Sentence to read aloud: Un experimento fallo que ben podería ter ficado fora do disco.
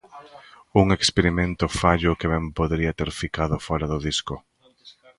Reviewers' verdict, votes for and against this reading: accepted, 2, 0